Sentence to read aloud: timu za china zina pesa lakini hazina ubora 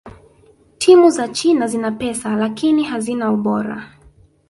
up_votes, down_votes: 0, 2